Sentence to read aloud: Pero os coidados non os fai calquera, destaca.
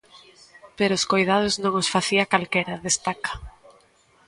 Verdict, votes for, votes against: rejected, 1, 2